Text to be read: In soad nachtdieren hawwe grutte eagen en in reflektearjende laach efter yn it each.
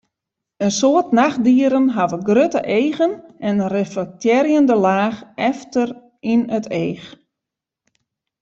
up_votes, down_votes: 0, 2